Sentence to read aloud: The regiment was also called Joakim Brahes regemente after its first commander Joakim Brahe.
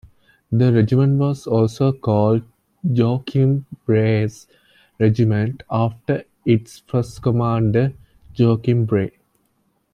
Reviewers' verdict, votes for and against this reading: accepted, 2, 0